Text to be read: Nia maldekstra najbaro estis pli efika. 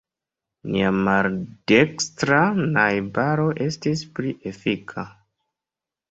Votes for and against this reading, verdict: 1, 2, rejected